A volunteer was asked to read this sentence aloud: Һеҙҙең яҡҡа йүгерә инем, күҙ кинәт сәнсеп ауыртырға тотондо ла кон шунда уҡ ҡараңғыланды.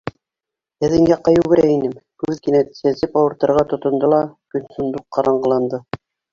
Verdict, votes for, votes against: rejected, 0, 2